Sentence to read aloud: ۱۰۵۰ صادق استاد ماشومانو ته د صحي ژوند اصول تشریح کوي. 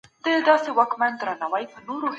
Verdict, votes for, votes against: rejected, 0, 2